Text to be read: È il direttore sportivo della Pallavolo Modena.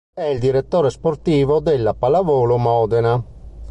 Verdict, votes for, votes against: accepted, 2, 0